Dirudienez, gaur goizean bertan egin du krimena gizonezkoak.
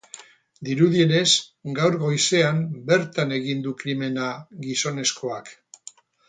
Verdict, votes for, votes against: rejected, 0, 2